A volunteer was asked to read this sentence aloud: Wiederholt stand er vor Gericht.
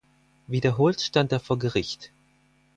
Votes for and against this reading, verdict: 4, 0, accepted